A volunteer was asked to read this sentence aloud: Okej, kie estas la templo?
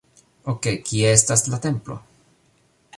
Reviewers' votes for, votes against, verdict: 2, 0, accepted